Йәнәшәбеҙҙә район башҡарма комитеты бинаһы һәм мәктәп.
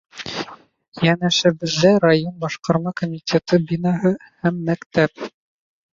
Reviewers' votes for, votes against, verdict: 0, 2, rejected